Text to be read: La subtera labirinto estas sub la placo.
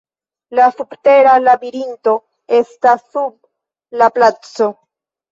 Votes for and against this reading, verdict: 2, 3, rejected